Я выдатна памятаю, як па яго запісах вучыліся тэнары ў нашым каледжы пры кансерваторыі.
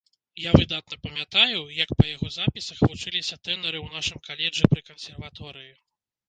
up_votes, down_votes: 1, 2